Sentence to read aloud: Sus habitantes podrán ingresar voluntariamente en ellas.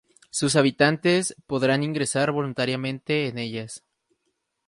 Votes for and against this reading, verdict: 4, 0, accepted